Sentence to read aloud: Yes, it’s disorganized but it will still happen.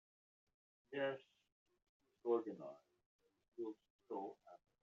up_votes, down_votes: 0, 2